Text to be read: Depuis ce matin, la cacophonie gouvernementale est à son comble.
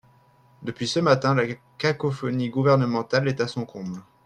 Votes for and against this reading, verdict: 2, 3, rejected